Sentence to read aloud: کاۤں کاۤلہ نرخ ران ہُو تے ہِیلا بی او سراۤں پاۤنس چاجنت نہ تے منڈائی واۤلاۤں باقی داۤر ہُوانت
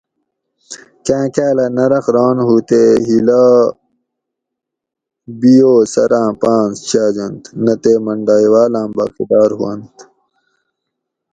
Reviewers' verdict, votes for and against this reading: rejected, 2, 2